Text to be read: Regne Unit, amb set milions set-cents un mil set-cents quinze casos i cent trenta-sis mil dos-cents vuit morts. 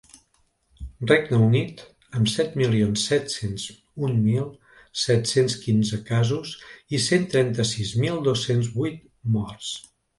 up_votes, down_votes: 2, 0